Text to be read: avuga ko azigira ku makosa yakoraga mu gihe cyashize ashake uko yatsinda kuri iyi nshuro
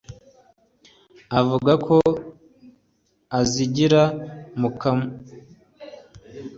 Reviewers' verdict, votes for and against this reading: rejected, 1, 2